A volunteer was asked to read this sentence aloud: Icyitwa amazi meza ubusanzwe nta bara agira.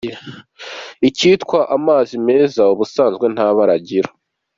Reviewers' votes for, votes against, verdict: 2, 0, accepted